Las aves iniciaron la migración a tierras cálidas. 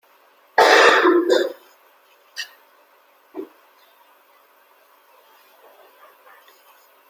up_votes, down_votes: 0, 2